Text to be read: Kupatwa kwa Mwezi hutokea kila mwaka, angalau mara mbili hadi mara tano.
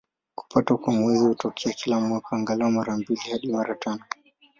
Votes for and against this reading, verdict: 11, 7, accepted